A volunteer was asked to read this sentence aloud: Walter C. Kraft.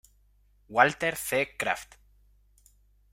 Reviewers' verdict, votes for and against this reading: accepted, 2, 0